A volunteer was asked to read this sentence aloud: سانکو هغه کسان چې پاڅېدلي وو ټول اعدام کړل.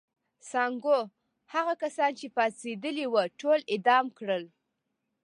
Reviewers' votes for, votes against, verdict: 1, 2, rejected